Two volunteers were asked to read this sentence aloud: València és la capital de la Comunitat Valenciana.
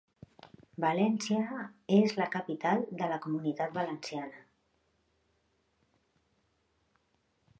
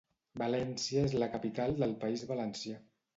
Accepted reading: first